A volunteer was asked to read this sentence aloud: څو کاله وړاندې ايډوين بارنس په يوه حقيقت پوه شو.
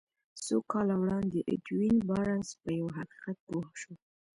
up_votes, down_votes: 2, 0